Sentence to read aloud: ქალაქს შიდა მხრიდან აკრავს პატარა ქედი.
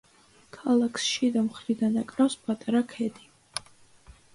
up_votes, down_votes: 2, 0